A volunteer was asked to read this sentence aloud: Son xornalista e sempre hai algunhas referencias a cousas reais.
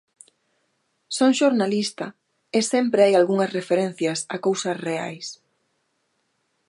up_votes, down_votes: 2, 0